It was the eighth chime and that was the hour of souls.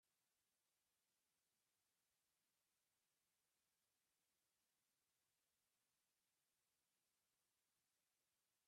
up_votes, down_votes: 1, 2